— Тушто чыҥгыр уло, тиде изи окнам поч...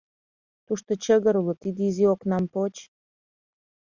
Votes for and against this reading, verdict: 1, 2, rejected